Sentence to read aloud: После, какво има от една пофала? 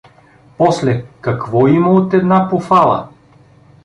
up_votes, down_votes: 2, 0